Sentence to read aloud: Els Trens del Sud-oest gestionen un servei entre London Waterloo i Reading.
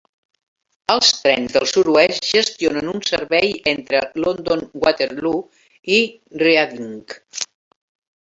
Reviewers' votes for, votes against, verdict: 1, 2, rejected